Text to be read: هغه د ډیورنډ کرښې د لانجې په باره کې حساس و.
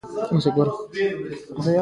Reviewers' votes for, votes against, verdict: 0, 2, rejected